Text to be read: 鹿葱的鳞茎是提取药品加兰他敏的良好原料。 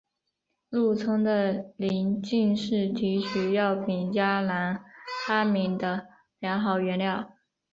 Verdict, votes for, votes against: accepted, 8, 0